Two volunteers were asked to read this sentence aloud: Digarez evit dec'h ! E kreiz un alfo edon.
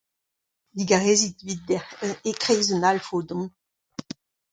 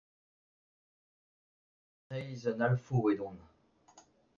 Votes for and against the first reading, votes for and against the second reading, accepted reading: 2, 0, 0, 2, first